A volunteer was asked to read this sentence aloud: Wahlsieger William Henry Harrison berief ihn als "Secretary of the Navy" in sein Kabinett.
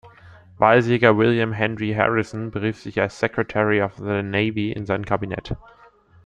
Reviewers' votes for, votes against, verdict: 1, 2, rejected